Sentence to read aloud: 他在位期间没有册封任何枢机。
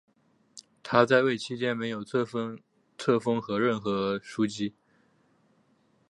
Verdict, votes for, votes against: accepted, 4, 1